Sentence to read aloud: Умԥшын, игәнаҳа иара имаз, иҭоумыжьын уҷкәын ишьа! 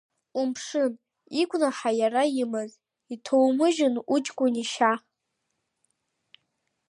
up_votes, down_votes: 2, 0